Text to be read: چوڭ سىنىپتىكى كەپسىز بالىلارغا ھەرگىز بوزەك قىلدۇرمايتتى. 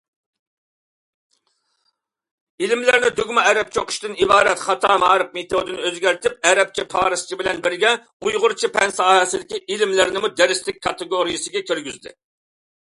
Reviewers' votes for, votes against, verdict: 0, 2, rejected